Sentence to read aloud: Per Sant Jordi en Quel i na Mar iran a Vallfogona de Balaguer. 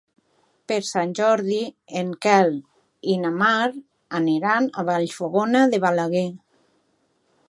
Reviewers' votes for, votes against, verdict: 1, 2, rejected